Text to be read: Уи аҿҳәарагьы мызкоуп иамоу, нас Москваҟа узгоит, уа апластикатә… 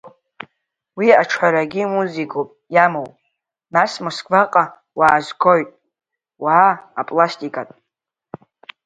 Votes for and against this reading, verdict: 1, 2, rejected